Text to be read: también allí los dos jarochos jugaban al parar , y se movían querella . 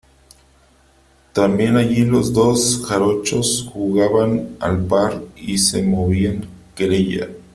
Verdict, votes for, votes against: rejected, 1, 2